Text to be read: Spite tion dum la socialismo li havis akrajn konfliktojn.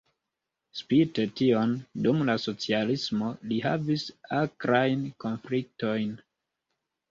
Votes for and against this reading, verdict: 2, 1, accepted